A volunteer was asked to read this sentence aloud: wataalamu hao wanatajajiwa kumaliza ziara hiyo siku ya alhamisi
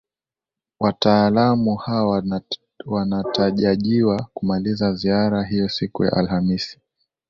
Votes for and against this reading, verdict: 1, 2, rejected